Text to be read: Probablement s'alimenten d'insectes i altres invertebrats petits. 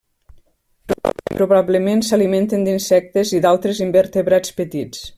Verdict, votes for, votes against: rejected, 0, 2